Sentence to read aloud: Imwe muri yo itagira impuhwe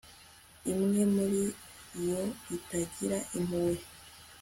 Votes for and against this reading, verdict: 3, 0, accepted